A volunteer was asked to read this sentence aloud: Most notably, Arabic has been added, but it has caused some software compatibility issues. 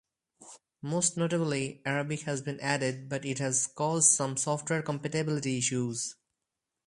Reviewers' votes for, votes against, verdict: 2, 2, rejected